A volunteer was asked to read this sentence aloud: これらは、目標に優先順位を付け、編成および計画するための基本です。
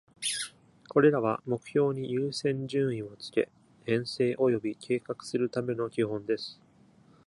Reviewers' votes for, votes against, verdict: 2, 0, accepted